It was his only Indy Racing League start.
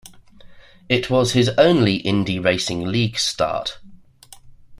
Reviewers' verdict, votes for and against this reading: accepted, 2, 0